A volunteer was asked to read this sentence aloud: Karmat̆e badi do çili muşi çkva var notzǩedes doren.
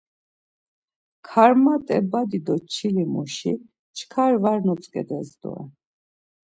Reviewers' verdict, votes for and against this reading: rejected, 0, 2